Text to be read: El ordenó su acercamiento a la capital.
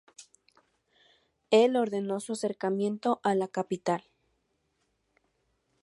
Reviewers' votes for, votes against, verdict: 2, 0, accepted